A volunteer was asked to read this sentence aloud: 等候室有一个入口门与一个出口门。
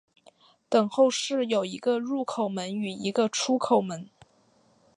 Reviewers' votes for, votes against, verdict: 8, 0, accepted